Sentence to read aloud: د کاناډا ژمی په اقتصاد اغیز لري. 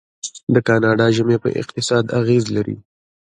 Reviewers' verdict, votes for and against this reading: accepted, 2, 0